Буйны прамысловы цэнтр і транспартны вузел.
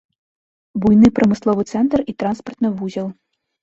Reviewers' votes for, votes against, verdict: 2, 0, accepted